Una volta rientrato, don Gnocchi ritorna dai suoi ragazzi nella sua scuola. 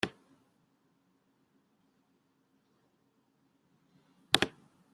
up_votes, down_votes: 0, 2